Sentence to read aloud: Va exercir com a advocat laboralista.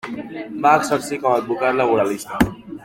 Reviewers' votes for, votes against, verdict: 1, 2, rejected